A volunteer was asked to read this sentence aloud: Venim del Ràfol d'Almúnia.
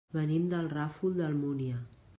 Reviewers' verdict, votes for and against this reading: accepted, 3, 0